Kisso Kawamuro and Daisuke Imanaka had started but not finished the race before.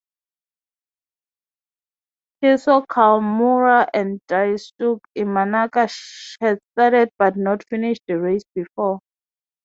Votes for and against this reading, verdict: 6, 0, accepted